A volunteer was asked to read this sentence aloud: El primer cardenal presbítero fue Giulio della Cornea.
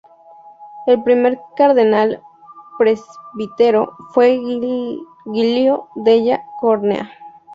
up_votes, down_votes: 0, 2